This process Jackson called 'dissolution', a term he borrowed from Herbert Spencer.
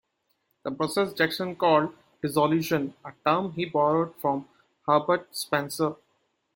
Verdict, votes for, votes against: accepted, 2, 1